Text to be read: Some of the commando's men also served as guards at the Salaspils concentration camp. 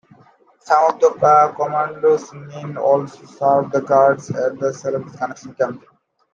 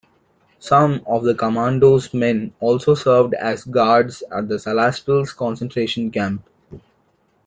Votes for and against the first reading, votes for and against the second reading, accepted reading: 0, 2, 2, 0, second